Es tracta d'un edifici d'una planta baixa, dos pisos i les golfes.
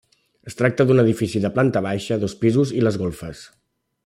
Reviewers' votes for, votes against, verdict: 0, 2, rejected